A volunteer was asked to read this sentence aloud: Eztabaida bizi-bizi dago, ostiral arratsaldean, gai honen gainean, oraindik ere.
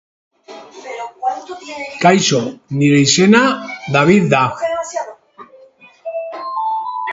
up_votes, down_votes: 0, 2